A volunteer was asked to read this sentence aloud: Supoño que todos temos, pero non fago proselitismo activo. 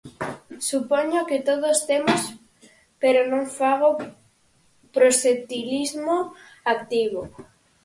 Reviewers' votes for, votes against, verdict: 0, 4, rejected